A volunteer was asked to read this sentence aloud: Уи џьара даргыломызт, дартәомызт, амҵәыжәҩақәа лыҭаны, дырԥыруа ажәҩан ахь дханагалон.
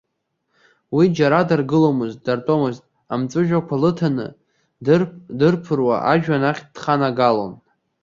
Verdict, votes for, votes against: rejected, 0, 2